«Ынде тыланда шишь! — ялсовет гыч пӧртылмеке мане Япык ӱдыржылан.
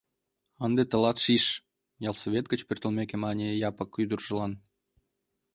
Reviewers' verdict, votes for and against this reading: rejected, 0, 2